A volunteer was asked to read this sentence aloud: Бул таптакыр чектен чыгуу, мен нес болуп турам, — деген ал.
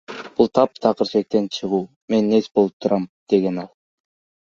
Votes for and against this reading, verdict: 0, 2, rejected